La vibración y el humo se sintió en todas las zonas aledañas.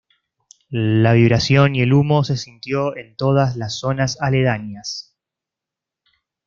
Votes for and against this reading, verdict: 2, 0, accepted